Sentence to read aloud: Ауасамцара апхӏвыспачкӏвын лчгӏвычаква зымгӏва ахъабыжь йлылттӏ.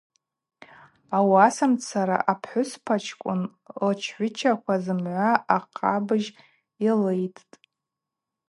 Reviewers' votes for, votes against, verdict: 4, 0, accepted